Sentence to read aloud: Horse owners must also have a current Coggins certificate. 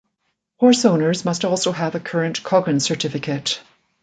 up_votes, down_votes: 2, 0